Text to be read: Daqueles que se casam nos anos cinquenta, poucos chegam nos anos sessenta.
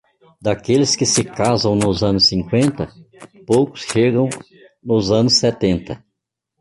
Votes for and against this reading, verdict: 1, 2, rejected